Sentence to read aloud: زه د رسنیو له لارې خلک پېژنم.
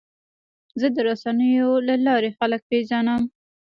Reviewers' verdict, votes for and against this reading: accepted, 2, 1